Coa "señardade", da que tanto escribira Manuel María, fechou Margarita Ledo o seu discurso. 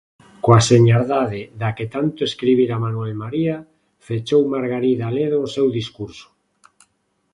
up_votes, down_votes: 1, 2